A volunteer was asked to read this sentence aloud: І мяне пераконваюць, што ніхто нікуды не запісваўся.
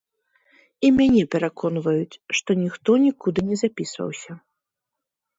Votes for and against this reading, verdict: 3, 0, accepted